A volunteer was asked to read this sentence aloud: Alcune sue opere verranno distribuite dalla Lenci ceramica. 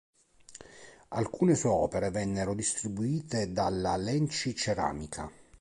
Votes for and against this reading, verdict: 1, 2, rejected